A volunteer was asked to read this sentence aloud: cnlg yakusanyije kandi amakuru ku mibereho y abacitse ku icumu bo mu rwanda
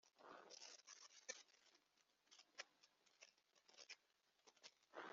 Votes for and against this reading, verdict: 1, 2, rejected